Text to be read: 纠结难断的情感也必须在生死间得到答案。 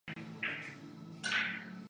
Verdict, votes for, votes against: rejected, 0, 2